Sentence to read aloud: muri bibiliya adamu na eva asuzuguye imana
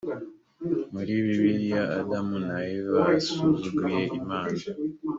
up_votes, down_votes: 2, 0